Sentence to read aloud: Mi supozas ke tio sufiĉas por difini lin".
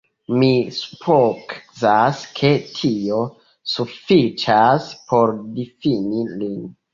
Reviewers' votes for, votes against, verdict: 1, 2, rejected